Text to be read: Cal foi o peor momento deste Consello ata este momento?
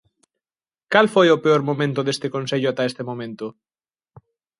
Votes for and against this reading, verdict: 2, 0, accepted